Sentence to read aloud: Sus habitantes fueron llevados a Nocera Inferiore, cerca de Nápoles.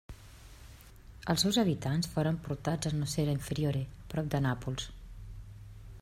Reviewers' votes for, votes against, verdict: 0, 2, rejected